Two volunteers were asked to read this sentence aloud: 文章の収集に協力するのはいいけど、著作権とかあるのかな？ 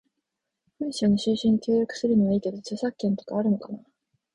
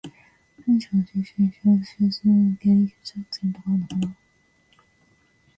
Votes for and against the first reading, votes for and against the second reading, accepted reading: 4, 0, 1, 2, first